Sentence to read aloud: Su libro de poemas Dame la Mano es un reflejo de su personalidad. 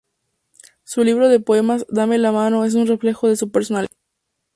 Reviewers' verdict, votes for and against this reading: rejected, 0, 2